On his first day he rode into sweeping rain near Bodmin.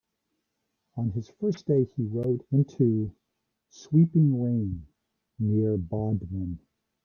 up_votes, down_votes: 2, 0